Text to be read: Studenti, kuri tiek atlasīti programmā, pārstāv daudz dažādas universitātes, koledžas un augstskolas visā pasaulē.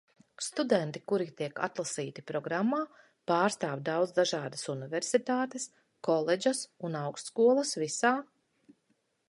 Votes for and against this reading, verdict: 0, 2, rejected